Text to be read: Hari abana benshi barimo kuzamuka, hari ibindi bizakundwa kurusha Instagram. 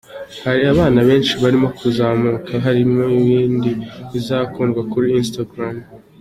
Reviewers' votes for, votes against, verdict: 1, 2, rejected